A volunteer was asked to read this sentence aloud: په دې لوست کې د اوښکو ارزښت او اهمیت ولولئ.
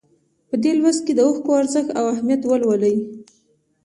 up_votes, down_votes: 2, 0